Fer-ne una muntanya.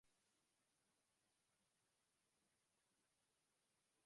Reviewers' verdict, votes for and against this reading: rejected, 1, 2